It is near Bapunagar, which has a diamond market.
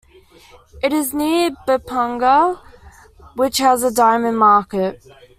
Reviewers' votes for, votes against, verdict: 2, 1, accepted